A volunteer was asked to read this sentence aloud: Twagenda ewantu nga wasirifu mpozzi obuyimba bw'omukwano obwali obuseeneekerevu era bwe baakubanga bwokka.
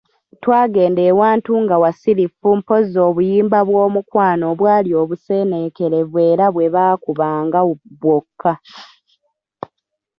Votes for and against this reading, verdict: 1, 2, rejected